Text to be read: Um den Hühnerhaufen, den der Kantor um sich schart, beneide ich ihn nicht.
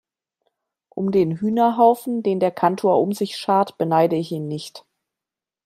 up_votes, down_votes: 2, 0